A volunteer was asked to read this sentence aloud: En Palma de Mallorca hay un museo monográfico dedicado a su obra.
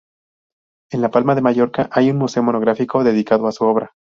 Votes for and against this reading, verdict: 2, 2, rejected